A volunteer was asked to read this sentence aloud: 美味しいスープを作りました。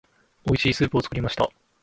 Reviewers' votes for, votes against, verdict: 0, 2, rejected